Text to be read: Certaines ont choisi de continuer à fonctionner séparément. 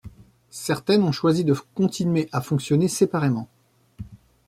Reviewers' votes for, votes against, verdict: 2, 0, accepted